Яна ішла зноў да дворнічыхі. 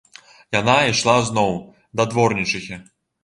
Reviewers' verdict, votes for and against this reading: accepted, 2, 0